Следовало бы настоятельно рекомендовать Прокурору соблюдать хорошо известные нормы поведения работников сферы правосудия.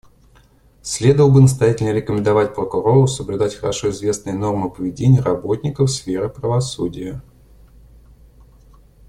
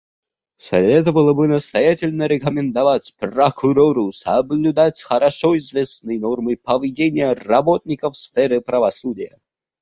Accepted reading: first